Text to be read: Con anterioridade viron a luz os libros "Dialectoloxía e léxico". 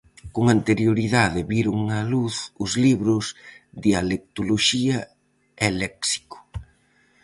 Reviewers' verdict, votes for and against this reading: accepted, 4, 0